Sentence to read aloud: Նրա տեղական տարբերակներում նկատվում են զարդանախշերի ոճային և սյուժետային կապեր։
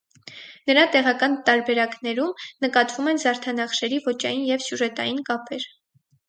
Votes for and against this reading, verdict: 6, 0, accepted